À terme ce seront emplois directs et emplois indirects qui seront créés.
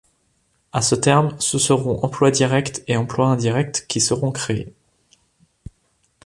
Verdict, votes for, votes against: rejected, 0, 2